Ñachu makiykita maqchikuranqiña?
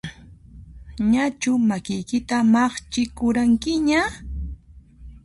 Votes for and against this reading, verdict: 2, 0, accepted